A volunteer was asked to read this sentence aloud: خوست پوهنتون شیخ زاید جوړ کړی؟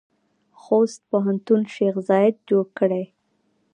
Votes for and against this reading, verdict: 0, 2, rejected